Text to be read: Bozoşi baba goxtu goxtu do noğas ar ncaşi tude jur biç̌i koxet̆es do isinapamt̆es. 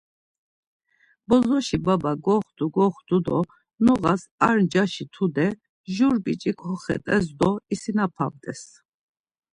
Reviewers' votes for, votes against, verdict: 2, 0, accepted